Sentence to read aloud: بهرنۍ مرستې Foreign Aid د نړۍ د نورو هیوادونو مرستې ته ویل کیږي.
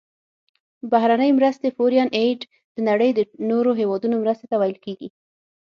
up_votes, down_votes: 0, 6